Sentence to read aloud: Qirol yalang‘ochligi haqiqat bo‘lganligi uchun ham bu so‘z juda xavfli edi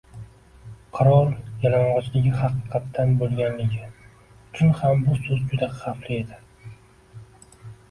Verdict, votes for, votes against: rejected, 0, 2